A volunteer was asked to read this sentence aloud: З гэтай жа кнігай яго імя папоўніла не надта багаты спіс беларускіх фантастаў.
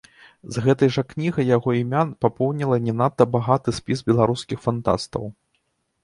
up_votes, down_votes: 2, 0